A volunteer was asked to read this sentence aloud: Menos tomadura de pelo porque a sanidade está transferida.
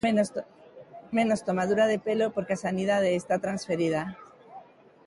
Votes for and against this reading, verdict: 0, 2, rejected